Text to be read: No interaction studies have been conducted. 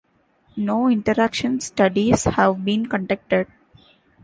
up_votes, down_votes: 2, 0